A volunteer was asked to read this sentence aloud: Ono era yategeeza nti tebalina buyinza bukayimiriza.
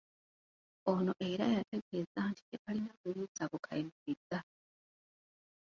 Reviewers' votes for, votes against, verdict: 0, 3, rejected